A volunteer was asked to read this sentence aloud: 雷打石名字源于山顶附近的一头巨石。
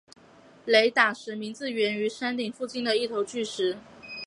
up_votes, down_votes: 2, 0